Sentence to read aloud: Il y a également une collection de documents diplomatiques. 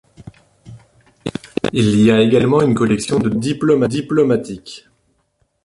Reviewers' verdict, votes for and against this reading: rejected, 0, 2